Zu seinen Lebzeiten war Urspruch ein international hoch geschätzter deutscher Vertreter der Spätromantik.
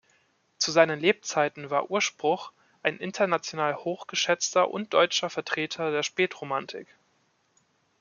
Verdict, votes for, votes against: rejected, 1, 2